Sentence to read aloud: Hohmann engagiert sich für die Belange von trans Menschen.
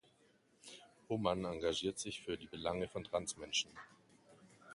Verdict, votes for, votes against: accepted, 2, 1